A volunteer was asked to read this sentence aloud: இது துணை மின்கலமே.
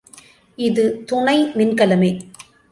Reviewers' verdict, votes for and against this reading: accepted, 2, 0